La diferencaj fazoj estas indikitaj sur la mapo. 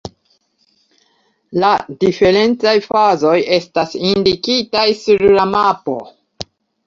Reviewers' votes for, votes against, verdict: 2, 0, accepted